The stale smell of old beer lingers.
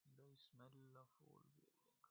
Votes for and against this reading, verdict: 0, 2, rejected